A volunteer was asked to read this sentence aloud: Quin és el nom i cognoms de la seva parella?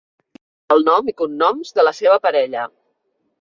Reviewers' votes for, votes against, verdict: 0, 2, rejected